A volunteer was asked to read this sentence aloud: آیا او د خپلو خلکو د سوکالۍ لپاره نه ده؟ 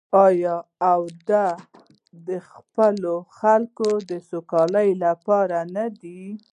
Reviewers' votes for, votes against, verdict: 1, 2, rejected